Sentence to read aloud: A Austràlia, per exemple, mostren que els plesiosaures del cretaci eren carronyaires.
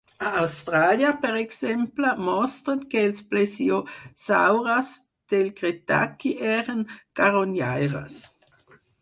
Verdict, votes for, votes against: rejected, 2, 4